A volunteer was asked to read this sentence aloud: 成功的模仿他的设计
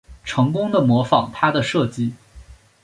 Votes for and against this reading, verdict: 3, 0, accepted